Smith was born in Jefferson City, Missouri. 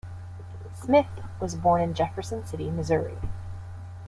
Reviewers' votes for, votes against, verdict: 2, 0, accepted